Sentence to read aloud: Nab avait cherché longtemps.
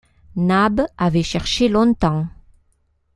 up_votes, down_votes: 2, 0